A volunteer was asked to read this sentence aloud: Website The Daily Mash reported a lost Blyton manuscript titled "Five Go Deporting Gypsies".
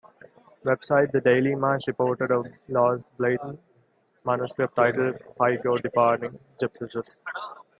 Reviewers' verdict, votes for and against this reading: rejected, 0, 2